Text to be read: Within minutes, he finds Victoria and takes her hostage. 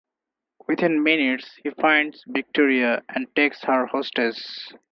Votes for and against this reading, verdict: 0, 4, rejected